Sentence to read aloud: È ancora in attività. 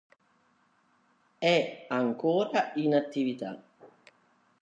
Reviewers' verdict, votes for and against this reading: accepted, 2, 0